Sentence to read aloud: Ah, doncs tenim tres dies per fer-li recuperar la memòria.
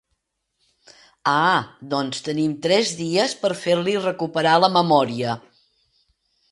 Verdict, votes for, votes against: accepted, 2, 0